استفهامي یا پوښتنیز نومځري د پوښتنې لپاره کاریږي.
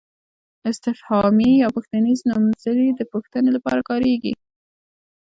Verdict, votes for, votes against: rejected, 1, 2